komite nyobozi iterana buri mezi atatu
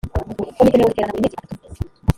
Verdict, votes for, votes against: rejected, 1, 2